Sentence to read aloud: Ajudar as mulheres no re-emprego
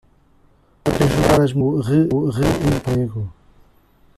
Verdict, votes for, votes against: rejected, 0, 2